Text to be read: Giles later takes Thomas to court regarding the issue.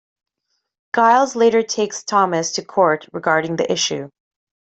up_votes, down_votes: 0, 2